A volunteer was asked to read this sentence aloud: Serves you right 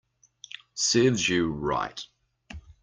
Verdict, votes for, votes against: accepted, 2, 0